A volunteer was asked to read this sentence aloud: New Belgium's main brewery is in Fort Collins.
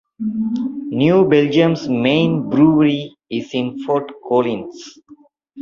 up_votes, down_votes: 2, 0